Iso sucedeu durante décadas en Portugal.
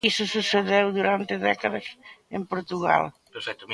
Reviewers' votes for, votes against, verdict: 0, 2, rejected